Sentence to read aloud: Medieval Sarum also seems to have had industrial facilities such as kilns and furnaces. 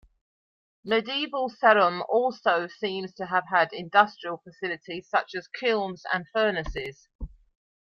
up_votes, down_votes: 2, 0